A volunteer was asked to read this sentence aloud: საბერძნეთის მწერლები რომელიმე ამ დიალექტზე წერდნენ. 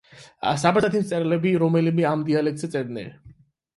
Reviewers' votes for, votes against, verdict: 8, 0, accepted